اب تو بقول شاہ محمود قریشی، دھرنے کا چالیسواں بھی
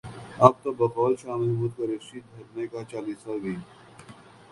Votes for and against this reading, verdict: 3, 0, accepted